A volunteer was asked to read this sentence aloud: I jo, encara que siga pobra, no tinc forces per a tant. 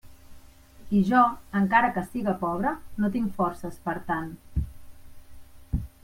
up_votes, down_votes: 2, 0